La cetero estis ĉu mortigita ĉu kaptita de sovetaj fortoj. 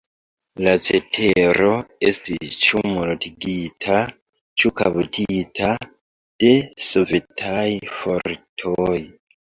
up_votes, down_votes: 1, 2